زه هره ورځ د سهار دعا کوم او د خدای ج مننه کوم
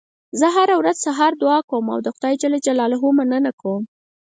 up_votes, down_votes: 4, 0